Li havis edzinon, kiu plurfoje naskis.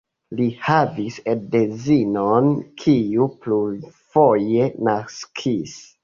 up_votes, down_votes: 0, 2